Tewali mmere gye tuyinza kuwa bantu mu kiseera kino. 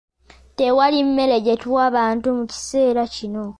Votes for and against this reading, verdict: 0, 2, rejected